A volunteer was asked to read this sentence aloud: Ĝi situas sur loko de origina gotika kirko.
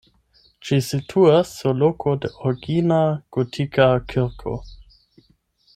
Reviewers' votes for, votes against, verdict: 4, 8, rejected